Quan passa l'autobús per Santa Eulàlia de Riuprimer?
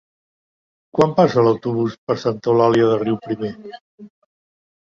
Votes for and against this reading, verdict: 2, 1, accepted